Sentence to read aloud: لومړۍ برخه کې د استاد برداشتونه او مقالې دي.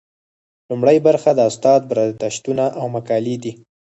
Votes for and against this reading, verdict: 2, 4, rejected